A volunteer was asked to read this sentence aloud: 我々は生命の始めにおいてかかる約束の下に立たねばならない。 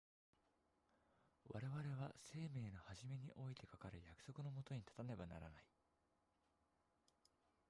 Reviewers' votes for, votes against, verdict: 0, 2, rejected